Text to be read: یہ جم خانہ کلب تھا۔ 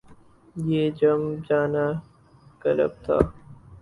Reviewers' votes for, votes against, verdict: 0, 2, rejected